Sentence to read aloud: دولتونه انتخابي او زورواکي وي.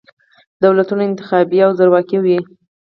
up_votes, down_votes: 0, 4